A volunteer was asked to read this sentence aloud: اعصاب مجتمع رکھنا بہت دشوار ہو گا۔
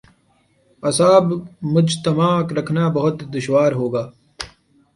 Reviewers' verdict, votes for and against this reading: accepted, 4, 0